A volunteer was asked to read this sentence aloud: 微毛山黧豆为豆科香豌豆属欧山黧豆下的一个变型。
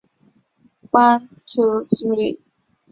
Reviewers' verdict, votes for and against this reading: rejected, 1, 3